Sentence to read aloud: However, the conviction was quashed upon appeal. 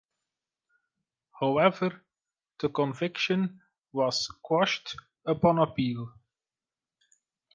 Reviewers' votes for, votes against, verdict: 2, 1, accepted